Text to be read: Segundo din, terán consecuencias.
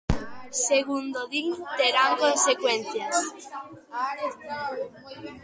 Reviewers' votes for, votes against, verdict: 1, 2, rejected